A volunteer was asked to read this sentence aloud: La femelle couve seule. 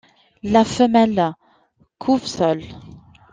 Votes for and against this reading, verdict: 2, 0, accepted